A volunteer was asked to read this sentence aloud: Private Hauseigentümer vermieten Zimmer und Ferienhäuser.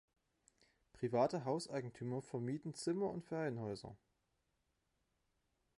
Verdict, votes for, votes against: accepted, 2, 0